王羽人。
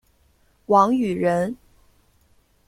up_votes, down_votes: 2, 0